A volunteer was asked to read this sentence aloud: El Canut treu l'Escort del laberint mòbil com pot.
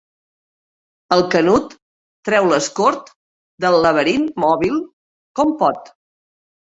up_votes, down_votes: 1, 2